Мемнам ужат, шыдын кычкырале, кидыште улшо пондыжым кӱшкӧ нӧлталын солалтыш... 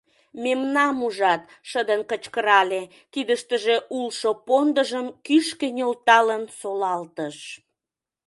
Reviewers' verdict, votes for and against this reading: rejected, 0, 2